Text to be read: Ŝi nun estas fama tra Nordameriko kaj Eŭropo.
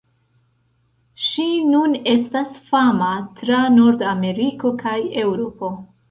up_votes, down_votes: 1, 2